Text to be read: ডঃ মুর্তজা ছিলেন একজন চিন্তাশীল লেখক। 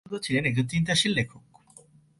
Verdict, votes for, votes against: rejected, 0, 2